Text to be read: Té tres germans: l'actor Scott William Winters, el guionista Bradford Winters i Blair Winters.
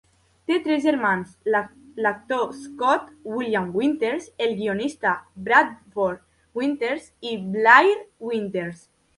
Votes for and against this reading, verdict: 0, 2, rejected